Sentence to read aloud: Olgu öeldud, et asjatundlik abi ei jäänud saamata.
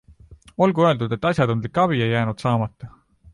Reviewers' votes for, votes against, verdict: 2, 0, accepted